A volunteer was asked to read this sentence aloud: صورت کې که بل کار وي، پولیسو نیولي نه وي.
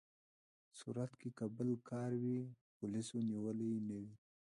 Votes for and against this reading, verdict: 0, 2, rejected